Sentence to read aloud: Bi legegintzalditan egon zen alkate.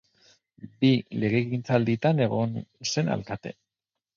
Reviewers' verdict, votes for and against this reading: accepted, 4, 0